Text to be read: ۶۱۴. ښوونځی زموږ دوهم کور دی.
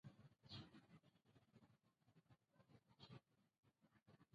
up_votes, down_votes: 0, 2